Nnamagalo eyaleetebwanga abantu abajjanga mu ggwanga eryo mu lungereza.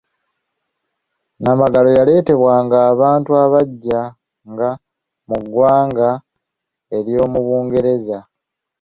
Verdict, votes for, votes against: accepted, 2, 1